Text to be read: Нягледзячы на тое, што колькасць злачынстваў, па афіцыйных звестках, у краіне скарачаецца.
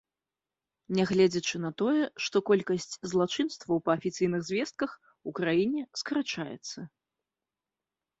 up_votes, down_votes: 2, 0